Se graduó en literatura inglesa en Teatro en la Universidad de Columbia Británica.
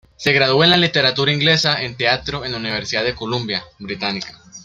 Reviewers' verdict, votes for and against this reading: rejected, 0, 2